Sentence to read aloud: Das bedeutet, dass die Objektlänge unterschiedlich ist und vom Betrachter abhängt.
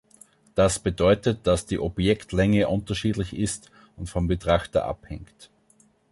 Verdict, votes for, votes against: rejected, 1, 2